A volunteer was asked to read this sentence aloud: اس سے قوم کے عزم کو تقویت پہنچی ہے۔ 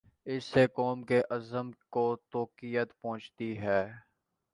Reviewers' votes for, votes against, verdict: 1, 2, rejected